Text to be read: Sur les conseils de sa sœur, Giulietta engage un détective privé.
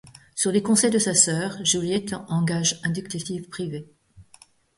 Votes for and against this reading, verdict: 1, 2, rejected